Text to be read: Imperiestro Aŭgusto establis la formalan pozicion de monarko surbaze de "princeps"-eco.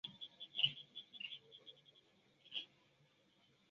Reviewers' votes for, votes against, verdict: 0, 3, rejected